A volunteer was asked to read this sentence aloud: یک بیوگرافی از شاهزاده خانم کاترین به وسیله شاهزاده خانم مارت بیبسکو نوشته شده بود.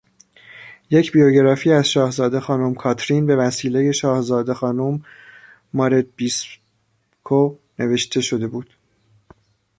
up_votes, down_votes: 0, 2